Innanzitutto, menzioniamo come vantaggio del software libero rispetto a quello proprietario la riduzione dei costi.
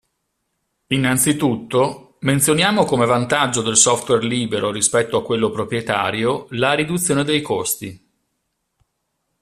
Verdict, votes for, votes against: accepted, 2, 0